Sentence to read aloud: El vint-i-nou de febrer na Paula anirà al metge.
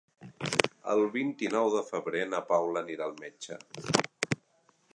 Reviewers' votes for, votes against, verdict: 4, 0, accepted